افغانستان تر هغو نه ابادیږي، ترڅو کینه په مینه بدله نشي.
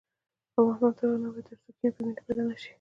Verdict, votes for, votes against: accepted, 2, 0